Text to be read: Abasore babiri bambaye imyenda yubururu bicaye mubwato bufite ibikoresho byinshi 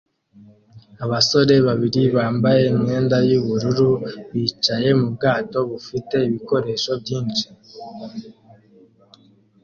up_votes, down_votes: 2, 0